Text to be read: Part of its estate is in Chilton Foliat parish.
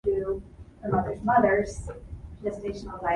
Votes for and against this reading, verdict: 1, 2, rejected